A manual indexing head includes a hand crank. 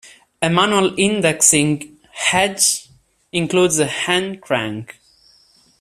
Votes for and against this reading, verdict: 2, 0, accepted